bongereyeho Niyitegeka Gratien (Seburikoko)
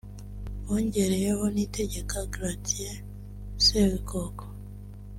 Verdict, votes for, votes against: accepted, 2, 0